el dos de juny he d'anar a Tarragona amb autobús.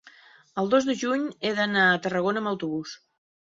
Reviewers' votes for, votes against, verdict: 3, 0, accepted